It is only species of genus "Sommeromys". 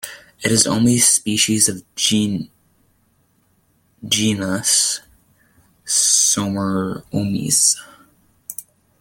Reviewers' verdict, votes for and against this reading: rejected, 0, 2